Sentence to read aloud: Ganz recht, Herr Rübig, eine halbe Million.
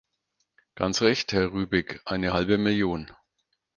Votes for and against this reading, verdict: 4, 0, accepted